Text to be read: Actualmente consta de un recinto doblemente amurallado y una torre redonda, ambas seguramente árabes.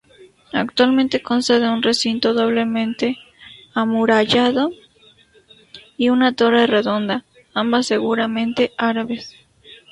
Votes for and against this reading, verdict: 2, 0, accepted